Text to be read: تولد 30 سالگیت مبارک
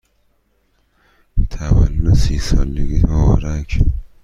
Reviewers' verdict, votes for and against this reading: rejected, 0, 2